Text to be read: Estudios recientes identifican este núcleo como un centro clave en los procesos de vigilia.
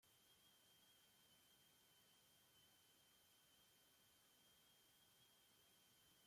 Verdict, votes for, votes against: rejected, 0, 2